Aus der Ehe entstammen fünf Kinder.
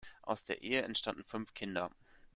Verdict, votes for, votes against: rejected, 1, 2